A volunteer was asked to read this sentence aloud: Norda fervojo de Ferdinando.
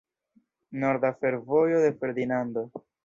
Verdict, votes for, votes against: rejected, 1, 2